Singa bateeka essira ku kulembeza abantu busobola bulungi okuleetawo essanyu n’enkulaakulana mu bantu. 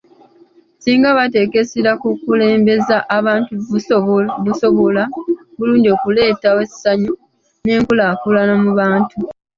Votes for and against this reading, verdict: 1, 2, rejected